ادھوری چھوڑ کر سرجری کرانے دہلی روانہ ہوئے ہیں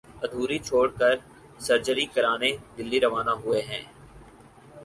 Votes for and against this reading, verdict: 4, 0, accepted